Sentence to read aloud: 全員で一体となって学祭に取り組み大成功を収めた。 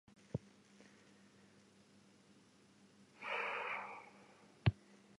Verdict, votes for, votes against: rejected, 0, 2